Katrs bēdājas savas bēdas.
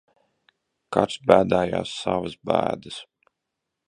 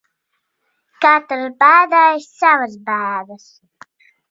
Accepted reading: second